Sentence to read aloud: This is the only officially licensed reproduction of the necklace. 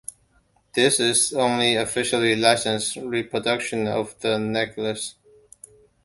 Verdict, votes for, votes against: rejected, 1, 2